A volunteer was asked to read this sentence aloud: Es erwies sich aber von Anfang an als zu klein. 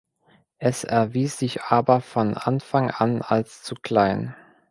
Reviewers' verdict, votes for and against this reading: accepted, 2, 0